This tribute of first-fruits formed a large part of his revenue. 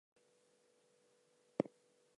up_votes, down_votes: 0, 2